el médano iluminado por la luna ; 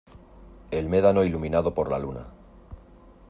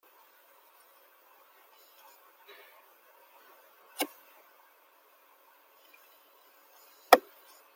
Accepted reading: first